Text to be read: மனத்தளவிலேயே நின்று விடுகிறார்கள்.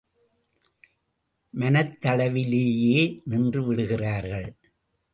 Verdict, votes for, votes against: rejected, 1, 2